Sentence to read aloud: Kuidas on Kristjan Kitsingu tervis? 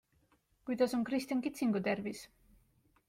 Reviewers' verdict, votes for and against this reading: accepted, 2, 0